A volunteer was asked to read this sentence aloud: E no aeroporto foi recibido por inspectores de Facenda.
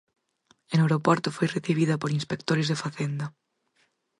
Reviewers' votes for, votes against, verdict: 2, 4, rejected